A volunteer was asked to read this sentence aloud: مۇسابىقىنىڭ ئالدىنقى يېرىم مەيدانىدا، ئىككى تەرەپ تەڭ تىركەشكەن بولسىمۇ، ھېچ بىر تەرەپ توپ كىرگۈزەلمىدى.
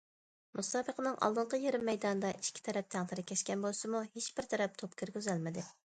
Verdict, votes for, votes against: accepted, 2, 0